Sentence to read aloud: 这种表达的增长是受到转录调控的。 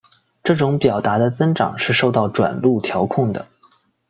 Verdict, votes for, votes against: accepted, 2, 0